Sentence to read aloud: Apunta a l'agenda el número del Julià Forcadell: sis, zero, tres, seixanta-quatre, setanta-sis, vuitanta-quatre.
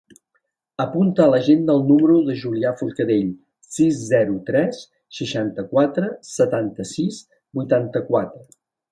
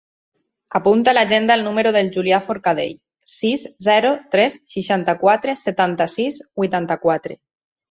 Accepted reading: second